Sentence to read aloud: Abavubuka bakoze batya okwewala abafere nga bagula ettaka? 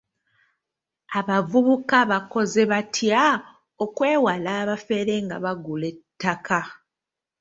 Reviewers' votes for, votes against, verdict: 2, 1, accepted